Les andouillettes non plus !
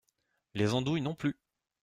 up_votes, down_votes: 0, 2